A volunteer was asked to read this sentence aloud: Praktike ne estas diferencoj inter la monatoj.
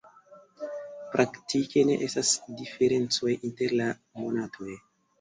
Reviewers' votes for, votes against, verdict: 2, 1, accepted